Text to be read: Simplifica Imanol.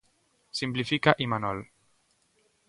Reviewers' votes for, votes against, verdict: 2, 0, accepted